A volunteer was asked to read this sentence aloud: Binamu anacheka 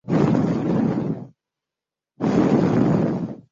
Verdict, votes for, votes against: rejected, 0, 2